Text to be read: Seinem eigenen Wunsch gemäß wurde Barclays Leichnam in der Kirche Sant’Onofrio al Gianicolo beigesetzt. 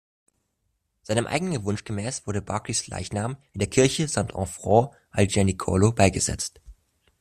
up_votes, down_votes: 1, 2